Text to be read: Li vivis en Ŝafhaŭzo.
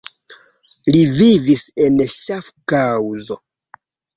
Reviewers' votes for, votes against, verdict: 1, 3, rejected